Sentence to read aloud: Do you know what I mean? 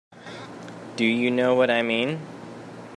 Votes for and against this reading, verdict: 3, 0, accepted